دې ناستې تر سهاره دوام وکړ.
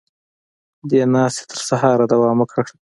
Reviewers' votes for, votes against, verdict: 2, 1, accepted